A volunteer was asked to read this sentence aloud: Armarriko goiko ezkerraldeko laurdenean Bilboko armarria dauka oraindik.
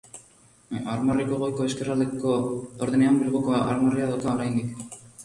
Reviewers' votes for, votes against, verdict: 1, 3, rejected